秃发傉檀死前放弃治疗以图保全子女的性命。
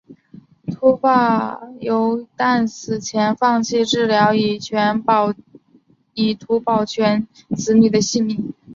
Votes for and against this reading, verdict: 1, 2, rejected